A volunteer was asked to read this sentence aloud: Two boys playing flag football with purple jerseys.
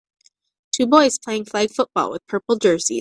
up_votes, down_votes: 2, 0